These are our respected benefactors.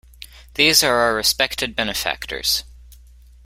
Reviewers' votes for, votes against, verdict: 2, 0, accepted